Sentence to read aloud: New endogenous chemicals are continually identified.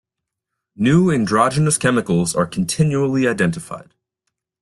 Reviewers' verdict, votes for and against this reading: rejected, 1, 2